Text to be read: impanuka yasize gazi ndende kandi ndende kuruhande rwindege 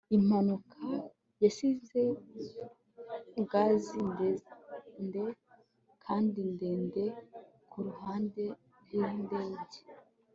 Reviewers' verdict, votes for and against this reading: accepted, 4, 0